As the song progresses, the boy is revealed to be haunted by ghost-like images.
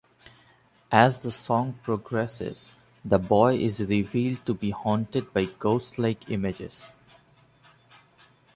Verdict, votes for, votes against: accepted, 2, 0